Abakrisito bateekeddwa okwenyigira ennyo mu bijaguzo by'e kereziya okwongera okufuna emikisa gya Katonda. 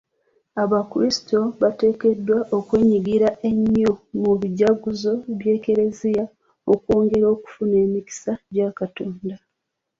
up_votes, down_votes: 2, 1